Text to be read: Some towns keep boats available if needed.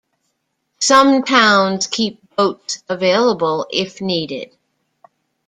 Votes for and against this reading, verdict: 2, 0, accepted